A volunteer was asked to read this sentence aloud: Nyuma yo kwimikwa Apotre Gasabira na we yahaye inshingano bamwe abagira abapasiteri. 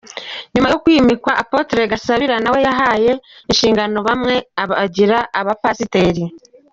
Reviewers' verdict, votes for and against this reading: accepted, 3, 0